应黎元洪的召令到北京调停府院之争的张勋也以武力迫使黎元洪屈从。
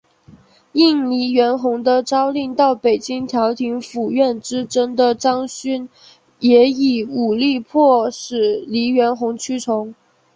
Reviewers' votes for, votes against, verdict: 2, 0, accepted